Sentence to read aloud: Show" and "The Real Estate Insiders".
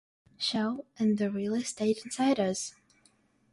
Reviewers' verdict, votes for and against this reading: rejected, 0, 3